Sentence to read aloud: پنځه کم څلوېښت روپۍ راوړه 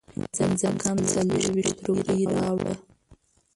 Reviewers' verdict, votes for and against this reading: rejected, 0, 2